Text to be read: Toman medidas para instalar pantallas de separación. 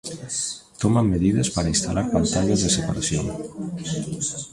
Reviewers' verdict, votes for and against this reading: rejected, 1, 2